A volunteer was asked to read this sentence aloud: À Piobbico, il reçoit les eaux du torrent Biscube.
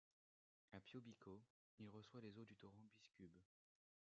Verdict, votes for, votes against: rejected, 1, 2